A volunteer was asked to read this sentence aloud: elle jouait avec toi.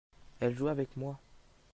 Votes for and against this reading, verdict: 0, 2, rejected